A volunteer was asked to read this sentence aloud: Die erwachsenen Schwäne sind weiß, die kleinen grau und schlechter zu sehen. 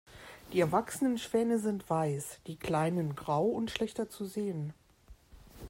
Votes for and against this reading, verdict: 2, 0, accepted